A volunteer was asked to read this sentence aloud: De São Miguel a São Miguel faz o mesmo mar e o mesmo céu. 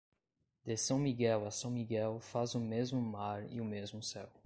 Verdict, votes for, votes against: accepted, 2, 0